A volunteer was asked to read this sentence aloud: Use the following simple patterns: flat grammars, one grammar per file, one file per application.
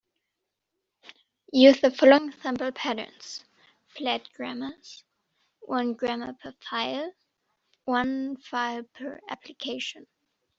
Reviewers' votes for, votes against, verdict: 2, 0, accepted